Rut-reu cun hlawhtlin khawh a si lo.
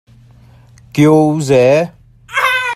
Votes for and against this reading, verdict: 0, 2, rejected